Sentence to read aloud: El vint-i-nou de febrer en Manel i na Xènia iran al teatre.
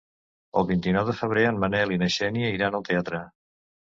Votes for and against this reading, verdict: 2, 0, accepted